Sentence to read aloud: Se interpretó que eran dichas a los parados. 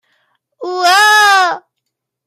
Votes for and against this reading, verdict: 0, 2, rejected